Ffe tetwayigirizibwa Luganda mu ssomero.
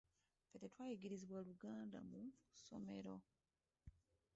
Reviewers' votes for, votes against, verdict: 0, 2, rejected